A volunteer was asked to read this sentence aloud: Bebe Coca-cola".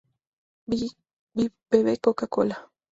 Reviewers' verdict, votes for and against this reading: rejected, 0, 4